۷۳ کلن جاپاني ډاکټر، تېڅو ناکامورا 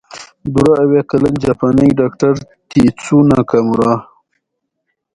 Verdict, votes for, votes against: rejected, 0, 2